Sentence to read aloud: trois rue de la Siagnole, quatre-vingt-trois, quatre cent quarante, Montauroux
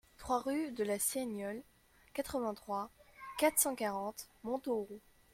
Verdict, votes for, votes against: rejected, 0, 2